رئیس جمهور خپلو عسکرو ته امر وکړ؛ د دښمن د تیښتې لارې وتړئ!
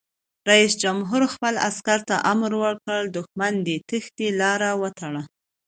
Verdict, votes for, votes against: accepted, 2, 0